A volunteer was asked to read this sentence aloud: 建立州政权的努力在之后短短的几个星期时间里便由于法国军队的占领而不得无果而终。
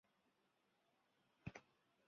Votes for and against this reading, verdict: 0, 2, rejected